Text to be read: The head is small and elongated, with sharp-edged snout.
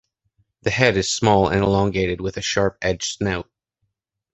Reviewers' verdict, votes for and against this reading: rejected, 1, 2